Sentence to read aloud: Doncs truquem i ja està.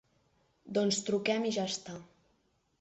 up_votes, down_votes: 3, 0